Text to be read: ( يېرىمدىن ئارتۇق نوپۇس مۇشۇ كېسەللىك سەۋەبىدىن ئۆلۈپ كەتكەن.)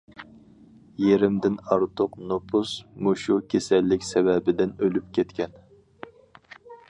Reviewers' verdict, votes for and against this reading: accepted, 4, 0